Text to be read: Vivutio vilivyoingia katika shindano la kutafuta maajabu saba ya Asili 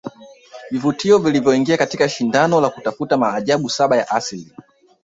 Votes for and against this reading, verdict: 2, 0, accepted